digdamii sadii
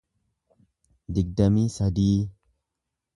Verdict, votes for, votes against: accepted, 2, 0